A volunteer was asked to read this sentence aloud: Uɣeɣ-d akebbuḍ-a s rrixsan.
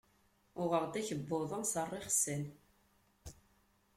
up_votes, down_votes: 2, 0